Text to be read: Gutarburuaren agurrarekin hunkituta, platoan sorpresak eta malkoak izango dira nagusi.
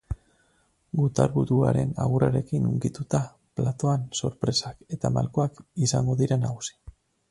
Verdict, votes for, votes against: accepted, 4, 0